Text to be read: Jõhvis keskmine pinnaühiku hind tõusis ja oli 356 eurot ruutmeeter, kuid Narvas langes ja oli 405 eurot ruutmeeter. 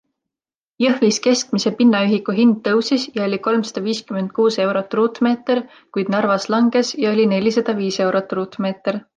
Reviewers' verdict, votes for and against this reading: rejected, 0, 2